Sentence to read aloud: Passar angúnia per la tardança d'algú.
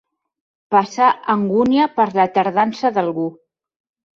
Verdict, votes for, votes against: accepted, 6, 0